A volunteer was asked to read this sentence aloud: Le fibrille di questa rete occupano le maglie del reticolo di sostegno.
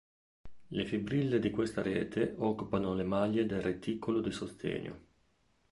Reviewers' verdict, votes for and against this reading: accepted, 2, 0